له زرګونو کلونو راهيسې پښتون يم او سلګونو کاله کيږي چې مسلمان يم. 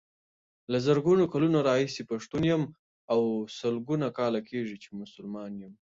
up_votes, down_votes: 2, 1